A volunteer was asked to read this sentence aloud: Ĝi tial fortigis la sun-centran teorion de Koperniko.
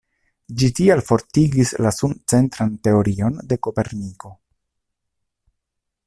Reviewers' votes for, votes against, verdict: 2, 0, accepted